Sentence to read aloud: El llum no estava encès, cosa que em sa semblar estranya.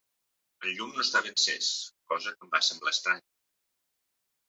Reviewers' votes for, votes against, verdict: 0, 2, rejected